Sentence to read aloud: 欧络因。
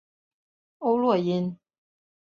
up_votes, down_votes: 2, 0